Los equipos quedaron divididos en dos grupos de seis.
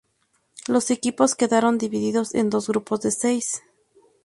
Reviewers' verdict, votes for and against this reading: accepted, 2, 0